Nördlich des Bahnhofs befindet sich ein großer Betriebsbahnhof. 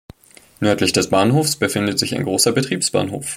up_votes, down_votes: 3, 1